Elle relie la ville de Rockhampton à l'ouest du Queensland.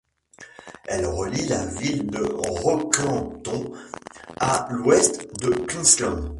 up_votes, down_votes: 1, 2